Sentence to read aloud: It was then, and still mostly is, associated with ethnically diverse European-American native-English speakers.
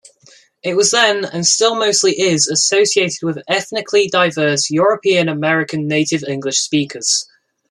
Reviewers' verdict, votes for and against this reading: rejected, 0, 2